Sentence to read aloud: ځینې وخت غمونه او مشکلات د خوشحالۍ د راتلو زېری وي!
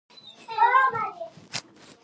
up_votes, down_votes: 0, 2